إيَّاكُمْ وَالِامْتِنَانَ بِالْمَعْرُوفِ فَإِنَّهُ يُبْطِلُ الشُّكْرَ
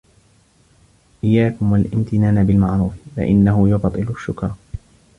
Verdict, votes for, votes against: accepted, 3, 0